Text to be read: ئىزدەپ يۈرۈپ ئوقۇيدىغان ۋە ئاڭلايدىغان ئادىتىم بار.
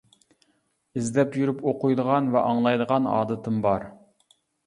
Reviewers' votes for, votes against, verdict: 2, 0, accepted